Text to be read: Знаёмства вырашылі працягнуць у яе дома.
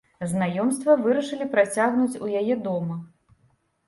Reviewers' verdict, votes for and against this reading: rejected, 1, 3